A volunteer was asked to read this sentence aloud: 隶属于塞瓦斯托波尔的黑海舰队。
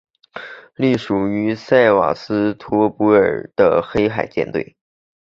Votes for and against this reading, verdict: 2, 0, accepted